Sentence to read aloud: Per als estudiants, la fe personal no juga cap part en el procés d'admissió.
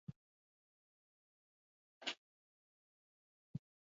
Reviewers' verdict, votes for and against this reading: rejected, 1, 2